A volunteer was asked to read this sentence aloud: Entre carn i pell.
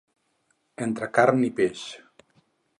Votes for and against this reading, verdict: 0, 4, rejected